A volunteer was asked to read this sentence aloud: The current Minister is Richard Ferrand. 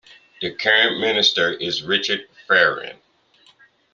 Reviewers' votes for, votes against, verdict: 2, 0, accepted